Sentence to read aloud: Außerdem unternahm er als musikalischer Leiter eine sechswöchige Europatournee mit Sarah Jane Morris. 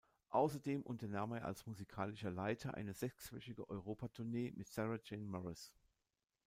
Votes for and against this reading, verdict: 0, 2, rejected